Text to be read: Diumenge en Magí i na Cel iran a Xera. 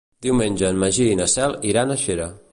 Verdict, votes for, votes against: accepted, 3, 0